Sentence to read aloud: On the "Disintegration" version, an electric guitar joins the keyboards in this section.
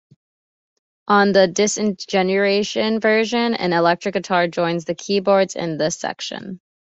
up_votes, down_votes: 1, 2